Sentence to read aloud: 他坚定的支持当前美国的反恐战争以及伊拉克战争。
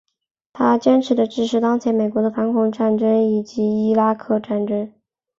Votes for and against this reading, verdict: 0, 2, rejected